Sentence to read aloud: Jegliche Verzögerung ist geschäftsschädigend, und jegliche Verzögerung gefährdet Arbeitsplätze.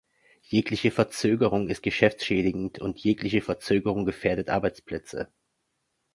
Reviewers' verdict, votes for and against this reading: accepted, 2, 0